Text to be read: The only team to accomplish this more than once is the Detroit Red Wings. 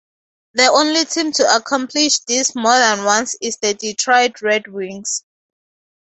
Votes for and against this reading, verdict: 4, 0, accepted